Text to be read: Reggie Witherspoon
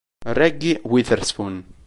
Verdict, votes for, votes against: rejected, 1, 2